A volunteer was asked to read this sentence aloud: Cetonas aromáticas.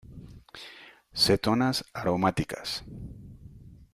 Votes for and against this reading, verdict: 2, 0, accepted